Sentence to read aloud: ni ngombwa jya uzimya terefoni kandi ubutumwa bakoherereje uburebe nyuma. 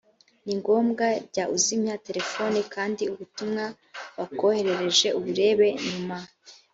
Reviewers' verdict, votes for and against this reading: accepted, 2, 0